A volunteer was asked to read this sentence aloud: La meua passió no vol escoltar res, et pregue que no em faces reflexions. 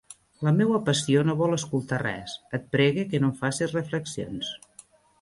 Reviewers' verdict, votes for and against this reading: accepted, 2, 0